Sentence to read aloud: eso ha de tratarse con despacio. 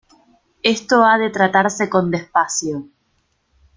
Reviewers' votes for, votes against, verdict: 0, 2, rejected